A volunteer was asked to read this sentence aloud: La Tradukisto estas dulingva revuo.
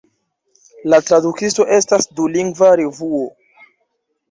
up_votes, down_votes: 2, 1